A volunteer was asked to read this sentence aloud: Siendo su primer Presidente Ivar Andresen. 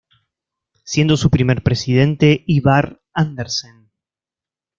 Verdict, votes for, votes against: rejected, 1, 2